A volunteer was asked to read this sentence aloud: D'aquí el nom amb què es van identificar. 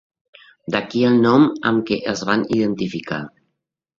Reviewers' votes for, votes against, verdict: 2, 0, accepted